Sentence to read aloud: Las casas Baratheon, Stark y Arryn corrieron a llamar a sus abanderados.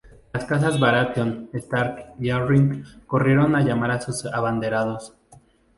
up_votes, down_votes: 0, 2